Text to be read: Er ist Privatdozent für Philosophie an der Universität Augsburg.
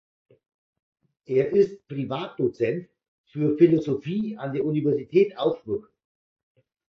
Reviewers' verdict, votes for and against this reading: accepted, 2, 0